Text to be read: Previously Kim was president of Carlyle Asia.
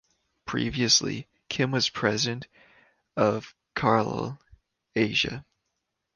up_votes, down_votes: 1, 2